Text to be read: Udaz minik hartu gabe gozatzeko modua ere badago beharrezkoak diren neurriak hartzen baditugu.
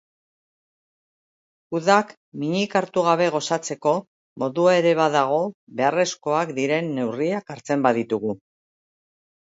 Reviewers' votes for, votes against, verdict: 0, 2, rejected